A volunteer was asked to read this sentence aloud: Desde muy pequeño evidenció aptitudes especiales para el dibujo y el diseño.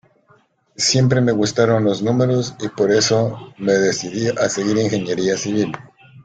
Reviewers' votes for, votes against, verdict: 0, 2, rejected